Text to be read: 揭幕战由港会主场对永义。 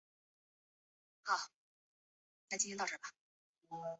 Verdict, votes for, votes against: rejected, 0, 2